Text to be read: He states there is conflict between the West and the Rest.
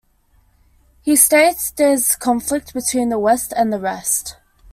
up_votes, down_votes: 2, 0